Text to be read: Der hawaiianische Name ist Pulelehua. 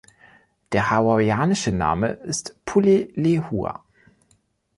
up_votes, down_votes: 2, 0